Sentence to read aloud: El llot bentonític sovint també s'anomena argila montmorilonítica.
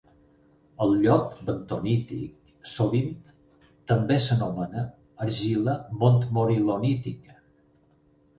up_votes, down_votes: 4, 0